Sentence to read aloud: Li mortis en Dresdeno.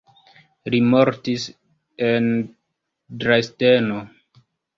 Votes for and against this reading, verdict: 2, 1, accepted